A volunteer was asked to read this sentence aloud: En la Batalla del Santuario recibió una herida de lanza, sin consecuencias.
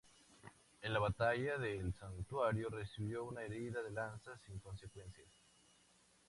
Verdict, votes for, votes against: accepted, 2, 0